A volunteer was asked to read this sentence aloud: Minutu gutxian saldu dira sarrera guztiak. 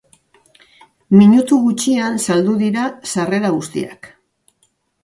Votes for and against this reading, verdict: 2, 0, accepted